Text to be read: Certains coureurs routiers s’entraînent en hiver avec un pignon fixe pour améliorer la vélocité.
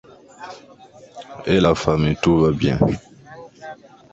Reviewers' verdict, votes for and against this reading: rejected, 1, 2